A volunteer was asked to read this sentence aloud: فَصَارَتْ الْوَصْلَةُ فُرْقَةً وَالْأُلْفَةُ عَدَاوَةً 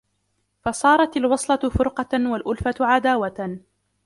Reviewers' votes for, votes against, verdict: 1, 2, rejected